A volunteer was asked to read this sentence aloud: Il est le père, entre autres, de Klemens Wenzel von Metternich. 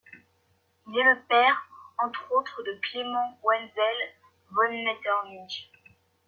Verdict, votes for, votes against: accepted, 2, 0